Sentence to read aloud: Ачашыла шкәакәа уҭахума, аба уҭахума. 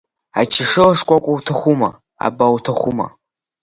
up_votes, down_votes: 3, 0